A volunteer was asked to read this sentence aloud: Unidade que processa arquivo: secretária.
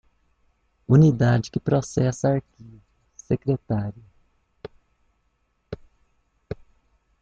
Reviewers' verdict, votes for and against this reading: rejected, 1, 2